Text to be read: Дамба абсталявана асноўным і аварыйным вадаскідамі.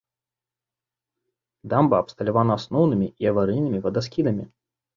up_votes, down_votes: 1, 2